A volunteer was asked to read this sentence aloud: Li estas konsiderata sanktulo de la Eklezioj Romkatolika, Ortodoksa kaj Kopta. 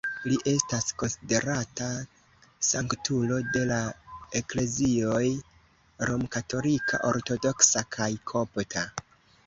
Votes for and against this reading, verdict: 2, 0, accepted